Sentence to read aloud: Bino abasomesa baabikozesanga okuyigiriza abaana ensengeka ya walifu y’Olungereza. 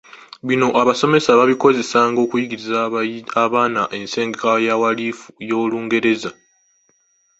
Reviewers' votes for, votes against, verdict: 1, 2, rejected